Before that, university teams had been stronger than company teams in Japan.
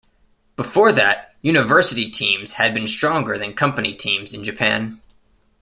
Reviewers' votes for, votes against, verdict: 2, 0, accepted